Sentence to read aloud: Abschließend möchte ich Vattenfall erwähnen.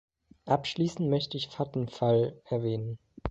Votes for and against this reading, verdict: 2, 0, accepted